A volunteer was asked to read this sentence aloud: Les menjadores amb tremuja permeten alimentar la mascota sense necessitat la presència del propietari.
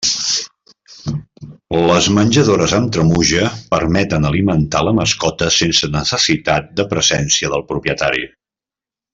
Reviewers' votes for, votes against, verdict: 0, 2, rejected